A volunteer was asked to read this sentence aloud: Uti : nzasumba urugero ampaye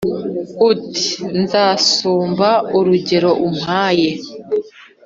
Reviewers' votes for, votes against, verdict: 1, 2, rejected